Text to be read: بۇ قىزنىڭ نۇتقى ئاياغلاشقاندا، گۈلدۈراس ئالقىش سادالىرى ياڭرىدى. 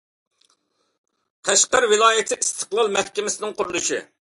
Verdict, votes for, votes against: rejected, 0, 2